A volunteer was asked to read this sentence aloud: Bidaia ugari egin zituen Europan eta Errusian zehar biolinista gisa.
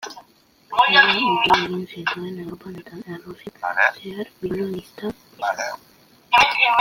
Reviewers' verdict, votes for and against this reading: rejected, 0, 2